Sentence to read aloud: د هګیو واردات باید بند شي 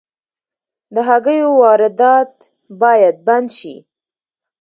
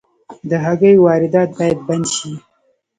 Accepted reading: first